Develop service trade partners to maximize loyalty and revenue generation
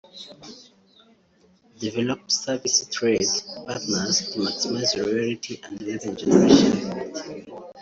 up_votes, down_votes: 1, 2